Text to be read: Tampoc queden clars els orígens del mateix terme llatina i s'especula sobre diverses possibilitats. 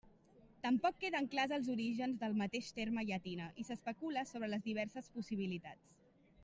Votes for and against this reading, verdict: 0, 2, rejected